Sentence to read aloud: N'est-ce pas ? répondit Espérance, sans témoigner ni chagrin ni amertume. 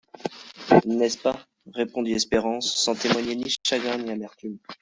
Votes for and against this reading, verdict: 0, 2, rejected